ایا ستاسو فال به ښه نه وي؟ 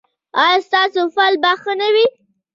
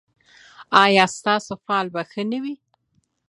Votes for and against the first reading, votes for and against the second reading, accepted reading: 0, 2, 2, 0, second